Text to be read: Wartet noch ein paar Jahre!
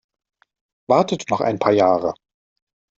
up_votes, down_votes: 2, 0